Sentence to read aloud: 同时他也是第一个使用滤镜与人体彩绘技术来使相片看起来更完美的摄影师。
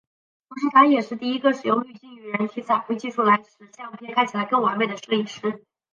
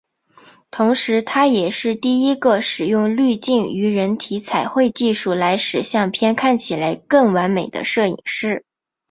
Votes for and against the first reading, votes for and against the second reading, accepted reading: 1, 2, 3, 0, second